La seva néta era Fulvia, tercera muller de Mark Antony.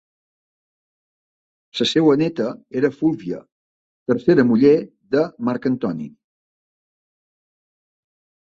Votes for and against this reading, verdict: 0, 2, rejected